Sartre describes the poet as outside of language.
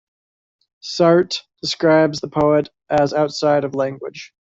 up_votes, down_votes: 1, 2